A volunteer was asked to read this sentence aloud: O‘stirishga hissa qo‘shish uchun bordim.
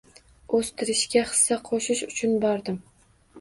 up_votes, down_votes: 1, 2